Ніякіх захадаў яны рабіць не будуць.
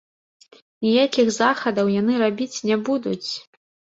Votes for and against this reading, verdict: 2, 0, accepted